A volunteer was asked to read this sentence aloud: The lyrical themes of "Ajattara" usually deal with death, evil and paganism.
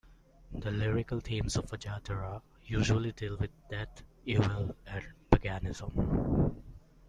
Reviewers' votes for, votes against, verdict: 0, 2, rejected